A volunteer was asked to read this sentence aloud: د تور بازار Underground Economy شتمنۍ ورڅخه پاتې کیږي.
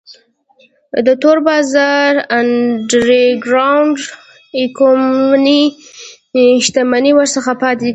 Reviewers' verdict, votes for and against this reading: rejected, 1, 2